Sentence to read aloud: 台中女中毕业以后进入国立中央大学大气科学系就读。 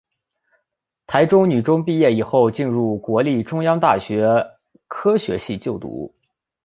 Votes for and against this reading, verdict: 0, 3, rejected